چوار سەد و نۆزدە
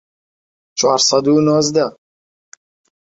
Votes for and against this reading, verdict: 2, 0, accepted